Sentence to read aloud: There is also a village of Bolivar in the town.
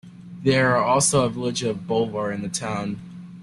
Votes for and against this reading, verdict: 0, 2, rejected